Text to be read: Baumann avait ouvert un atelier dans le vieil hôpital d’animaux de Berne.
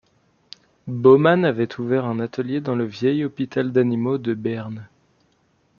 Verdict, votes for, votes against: accepted, 2, 0